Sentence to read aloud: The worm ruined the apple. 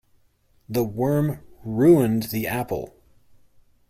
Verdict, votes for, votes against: accepted, 2, 0